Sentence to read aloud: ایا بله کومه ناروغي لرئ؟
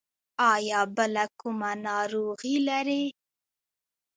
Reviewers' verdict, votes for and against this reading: rejected, 0, 2